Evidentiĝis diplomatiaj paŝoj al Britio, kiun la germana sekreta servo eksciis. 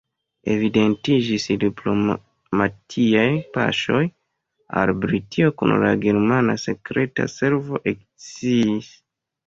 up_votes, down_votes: 0, 2